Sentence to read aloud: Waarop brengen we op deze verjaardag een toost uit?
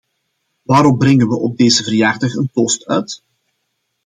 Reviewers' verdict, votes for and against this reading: accepted, 2, 0